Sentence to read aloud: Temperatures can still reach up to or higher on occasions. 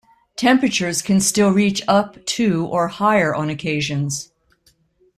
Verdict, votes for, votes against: rejected, 1, 2